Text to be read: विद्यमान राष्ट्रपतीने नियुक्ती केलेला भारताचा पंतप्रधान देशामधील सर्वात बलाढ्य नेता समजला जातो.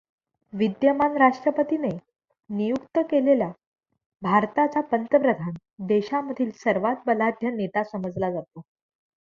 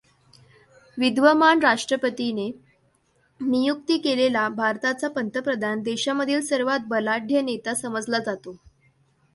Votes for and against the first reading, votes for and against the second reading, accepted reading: 0, 2, 2, 0, second